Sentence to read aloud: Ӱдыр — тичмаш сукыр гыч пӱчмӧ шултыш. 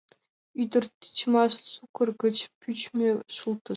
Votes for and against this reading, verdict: 2, 0, accepted